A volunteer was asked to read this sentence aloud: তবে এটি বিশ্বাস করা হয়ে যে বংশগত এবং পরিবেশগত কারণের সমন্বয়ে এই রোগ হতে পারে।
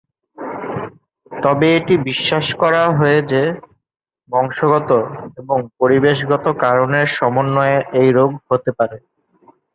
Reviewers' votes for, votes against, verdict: 19, 5, accepted